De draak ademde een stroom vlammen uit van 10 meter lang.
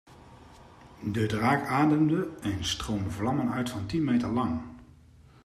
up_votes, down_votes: 0, 2